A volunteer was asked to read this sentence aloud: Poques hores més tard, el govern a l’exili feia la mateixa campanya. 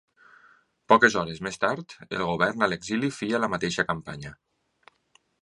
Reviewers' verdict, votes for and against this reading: accepted, 2, 0